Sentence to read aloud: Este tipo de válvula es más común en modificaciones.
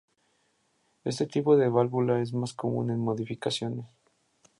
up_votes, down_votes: 6, 0